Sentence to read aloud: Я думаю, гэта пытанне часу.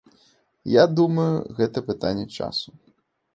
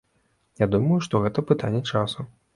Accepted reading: first